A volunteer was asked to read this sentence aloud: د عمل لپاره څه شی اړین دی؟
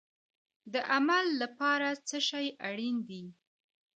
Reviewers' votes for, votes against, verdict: 1, 2, rejected